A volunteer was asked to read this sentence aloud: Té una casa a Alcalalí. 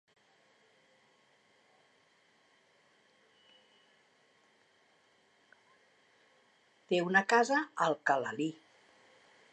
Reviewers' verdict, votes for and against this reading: rejected, 1, 2